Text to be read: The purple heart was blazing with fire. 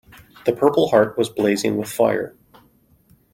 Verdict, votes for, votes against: accepted, 2, 0